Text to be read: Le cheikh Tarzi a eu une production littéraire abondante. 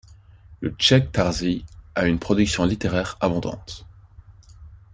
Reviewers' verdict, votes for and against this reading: rejected, 1, 2